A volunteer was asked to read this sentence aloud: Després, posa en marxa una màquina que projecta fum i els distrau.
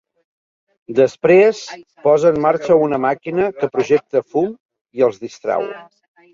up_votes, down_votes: 1, 2